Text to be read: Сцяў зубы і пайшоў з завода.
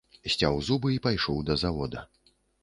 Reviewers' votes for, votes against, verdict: 0, 4, rejected